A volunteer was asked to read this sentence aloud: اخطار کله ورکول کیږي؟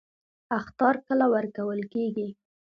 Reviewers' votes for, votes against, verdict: 2, 0, accepted